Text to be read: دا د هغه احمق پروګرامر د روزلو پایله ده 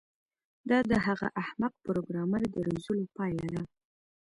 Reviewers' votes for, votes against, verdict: 2, 1, accepted